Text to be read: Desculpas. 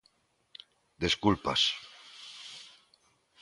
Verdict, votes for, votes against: accepted, 2, 0